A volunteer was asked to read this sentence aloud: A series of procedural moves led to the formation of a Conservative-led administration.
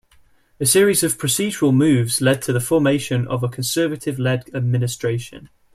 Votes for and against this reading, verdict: 2, 0, accepted